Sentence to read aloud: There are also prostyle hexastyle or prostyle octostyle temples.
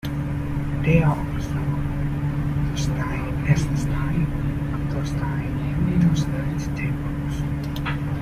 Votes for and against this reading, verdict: 0, 2, rejected